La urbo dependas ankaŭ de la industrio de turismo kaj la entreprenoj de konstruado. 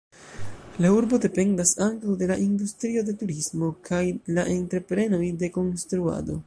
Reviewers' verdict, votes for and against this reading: rejected, 0, 2